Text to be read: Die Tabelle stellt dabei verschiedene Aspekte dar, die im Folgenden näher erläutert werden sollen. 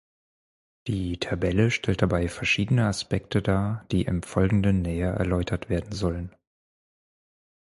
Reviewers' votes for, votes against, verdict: 4, 0, accepted